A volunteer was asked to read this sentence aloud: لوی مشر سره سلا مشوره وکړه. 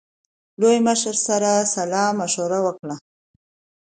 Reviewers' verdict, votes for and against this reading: accepted, 2, 0